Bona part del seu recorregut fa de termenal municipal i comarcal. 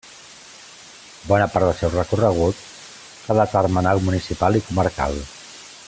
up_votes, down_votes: 2, 0